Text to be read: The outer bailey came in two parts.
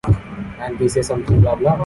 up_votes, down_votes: 0, 2